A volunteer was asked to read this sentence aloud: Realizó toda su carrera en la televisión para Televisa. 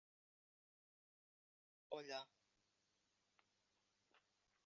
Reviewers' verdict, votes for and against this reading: rejected, 0, 2